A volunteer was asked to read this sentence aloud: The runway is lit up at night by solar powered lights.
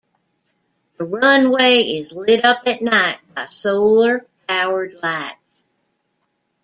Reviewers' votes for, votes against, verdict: 1, 2, rejected